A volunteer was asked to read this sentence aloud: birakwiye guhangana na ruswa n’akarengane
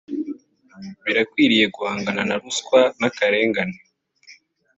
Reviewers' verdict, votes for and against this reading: accepted, 2, 0